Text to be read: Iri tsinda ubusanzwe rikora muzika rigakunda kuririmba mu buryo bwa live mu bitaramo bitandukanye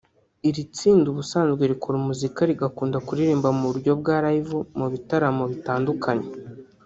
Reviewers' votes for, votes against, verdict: 2, 1, accepted